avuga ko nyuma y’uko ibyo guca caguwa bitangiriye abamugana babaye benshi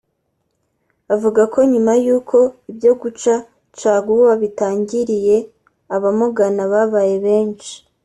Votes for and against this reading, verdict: 3, 0, accepted